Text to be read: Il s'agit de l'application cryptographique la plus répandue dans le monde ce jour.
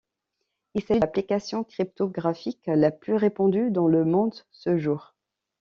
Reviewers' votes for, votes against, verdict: 1, 2, rejected